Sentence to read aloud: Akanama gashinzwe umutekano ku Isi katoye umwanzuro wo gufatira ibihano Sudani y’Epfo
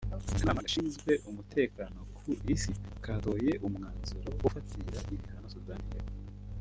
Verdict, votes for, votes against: accepted, 2, 1